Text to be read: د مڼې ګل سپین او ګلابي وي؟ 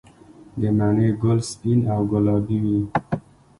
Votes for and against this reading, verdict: 2, 1, accepted